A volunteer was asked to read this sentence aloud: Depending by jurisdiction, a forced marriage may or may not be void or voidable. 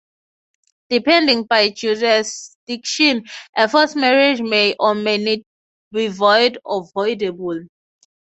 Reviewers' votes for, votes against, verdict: 3, 0, accepted